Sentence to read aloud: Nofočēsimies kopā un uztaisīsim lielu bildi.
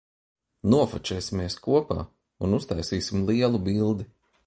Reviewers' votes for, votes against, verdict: 2, 0, accepted